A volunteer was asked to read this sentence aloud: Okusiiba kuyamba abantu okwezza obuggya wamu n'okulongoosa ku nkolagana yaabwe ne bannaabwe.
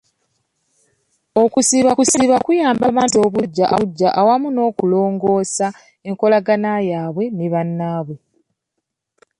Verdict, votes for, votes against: rejected, 1, 2